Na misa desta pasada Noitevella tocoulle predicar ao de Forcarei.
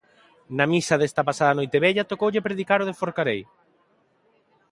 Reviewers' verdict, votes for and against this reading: accepted, 2, 0